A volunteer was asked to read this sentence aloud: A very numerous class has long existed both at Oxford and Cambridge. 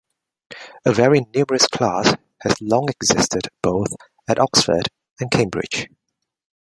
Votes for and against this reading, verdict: 1, 2, rejected